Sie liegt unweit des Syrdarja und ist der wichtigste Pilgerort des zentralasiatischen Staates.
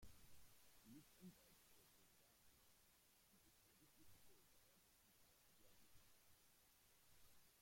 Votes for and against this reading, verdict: 0, 2, rejected